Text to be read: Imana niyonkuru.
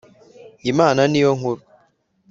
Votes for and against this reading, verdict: 3, 0, accepted